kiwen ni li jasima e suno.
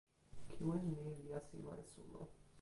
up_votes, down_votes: 0, 2